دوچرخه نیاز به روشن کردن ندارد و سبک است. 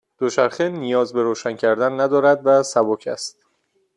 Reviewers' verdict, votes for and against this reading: accepted, 2, 0